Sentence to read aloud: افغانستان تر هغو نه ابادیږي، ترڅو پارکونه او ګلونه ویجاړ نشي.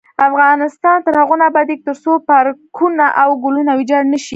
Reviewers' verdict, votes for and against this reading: rejected, 0, 2